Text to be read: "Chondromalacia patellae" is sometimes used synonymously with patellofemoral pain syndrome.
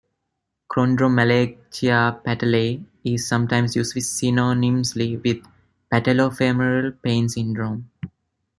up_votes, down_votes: 0, 2